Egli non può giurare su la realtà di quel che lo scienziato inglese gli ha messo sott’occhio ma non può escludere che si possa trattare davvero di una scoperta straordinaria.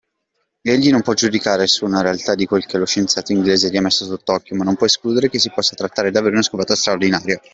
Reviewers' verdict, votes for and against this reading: rejected, 0, 2